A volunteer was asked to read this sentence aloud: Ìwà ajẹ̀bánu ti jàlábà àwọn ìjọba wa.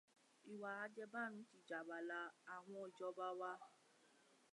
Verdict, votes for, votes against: rejected, 0, 2